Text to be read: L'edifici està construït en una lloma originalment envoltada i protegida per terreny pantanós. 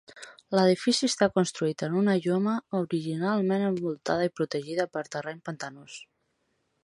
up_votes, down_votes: 4, 2